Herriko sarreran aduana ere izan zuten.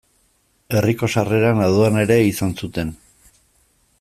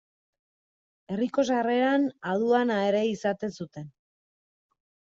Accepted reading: first